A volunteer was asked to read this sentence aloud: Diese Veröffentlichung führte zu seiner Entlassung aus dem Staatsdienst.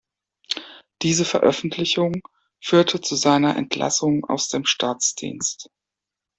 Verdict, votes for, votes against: accepted, 2, 0